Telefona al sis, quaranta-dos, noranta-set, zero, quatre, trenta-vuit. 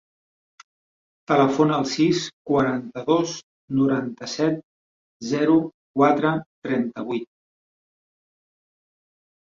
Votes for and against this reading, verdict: 4, 0, accepted